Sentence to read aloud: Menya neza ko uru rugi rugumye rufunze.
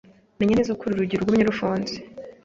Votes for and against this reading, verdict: 2, 0, accepted